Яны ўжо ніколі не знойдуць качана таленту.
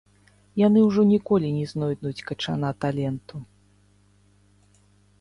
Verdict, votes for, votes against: rejected, 0, 2